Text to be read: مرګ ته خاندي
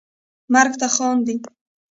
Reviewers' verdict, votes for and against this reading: accepted, 2, 0